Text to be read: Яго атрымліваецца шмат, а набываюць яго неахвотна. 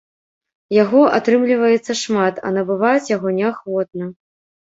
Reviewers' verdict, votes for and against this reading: accepted, 2, 0